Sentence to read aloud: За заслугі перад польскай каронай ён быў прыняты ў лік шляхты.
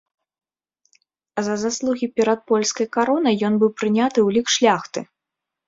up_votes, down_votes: 2, 0